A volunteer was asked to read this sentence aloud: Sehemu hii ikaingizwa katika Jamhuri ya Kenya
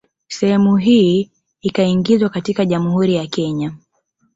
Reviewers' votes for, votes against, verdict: 0, 2, rejected